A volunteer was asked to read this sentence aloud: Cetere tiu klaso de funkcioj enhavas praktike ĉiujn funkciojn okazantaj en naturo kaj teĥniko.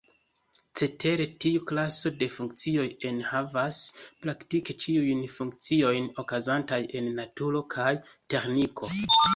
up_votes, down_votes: 2, 0